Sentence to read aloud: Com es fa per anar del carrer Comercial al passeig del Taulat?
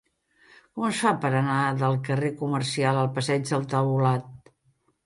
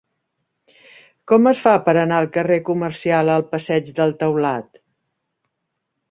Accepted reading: first